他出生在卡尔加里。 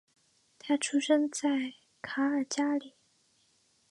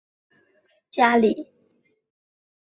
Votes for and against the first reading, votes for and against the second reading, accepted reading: 4, 0, 0, 3, first